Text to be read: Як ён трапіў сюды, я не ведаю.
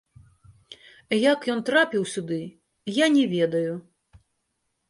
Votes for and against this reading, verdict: 1, 2, rejected